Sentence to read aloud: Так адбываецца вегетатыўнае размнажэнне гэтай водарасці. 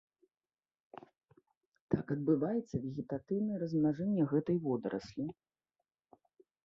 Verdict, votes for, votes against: rejected, 0, 2